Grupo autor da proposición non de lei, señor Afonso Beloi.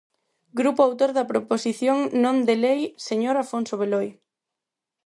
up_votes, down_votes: 4, 0